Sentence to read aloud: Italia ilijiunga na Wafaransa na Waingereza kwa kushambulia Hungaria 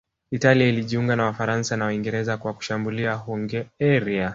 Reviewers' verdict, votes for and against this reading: rejected, 1, 2